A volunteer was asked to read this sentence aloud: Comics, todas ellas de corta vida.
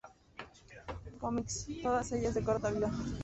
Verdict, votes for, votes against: rejected, 0, 2